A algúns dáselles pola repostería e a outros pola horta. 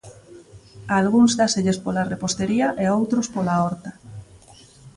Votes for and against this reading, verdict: 2, 0, accepted